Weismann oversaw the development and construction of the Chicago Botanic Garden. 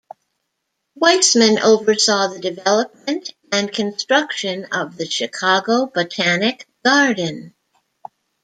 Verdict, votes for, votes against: rejected, 1, 2